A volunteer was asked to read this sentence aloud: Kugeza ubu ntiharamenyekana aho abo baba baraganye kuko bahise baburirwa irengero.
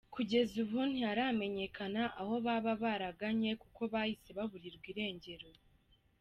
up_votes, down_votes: 2, 1